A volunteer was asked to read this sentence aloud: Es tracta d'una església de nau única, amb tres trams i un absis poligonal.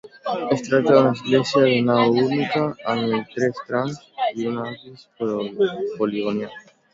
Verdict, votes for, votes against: accepted, 2, 1